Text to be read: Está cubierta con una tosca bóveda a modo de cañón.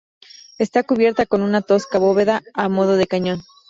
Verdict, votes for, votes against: accepted, 4, 0